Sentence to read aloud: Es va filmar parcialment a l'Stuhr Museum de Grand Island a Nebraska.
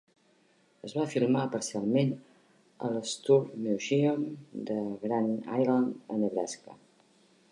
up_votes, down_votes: 0, 2